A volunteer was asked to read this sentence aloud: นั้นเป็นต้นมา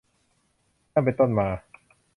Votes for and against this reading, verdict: 0, 2, rejected